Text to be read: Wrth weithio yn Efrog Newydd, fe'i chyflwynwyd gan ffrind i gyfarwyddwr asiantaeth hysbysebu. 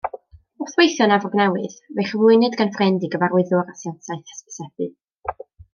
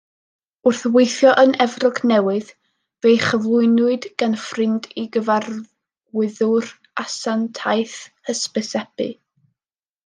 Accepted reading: first